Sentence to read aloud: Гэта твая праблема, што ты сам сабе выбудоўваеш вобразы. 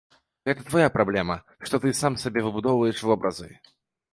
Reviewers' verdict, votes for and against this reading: accepted, 2, 0